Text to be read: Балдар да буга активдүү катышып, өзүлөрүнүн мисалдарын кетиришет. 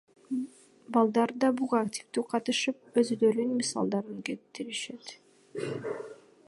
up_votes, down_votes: 2, 1